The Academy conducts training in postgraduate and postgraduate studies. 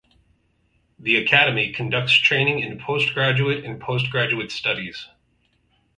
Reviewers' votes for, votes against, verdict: 4, 0, accepted